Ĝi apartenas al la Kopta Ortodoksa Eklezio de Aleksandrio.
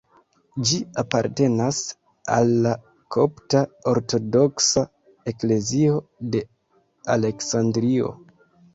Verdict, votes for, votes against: rejected, 1, 2